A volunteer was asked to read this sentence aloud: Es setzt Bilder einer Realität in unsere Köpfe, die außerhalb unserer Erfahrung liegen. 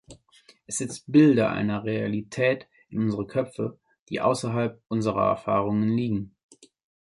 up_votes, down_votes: 0, 2